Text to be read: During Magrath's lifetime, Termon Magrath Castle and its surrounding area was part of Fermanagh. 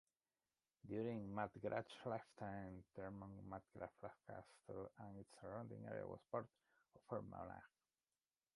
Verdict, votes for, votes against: rejected, 1, 2